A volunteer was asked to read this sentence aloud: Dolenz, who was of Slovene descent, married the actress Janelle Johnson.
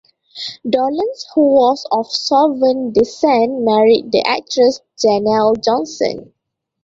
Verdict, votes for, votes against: rejected, 0, 2